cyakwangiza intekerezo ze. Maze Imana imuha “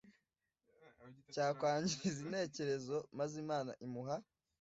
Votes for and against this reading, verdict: 1, 2, rejected